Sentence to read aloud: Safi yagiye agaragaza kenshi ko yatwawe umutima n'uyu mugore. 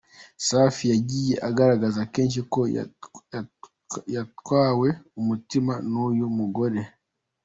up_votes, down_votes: 1, 2